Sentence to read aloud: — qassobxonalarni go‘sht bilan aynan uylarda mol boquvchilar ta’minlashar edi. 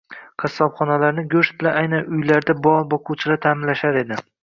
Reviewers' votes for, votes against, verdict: 2, 2, rejected